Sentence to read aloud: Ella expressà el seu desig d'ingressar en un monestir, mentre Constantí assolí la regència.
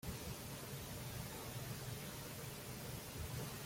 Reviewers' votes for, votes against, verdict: 0, 2, rejected